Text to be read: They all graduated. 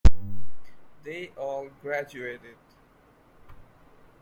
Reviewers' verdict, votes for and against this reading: accepted, 2, 0